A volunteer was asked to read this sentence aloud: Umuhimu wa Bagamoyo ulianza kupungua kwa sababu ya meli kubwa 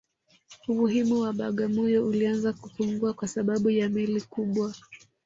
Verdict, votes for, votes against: rejected, 0, 2